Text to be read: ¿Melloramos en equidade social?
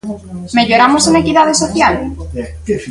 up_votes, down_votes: 1, 2